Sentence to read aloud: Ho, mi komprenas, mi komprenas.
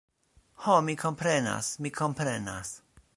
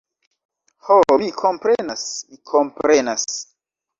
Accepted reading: second